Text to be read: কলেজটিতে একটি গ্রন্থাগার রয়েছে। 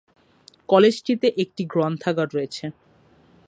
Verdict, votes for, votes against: accepted, 11, 1